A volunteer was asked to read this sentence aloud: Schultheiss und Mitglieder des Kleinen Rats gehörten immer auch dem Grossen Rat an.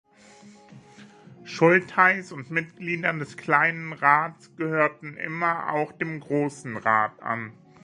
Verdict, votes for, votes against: accepted, 2, 0